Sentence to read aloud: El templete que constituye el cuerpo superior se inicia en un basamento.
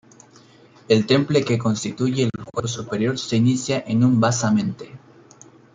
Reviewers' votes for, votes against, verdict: 1, 2, rejected